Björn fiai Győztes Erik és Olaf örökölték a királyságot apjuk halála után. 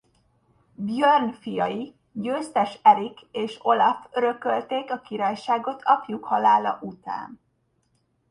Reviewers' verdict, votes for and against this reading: accepted, 2, 0